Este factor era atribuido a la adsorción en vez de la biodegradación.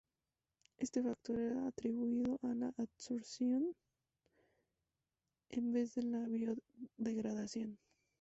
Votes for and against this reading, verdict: 2, 6, rejected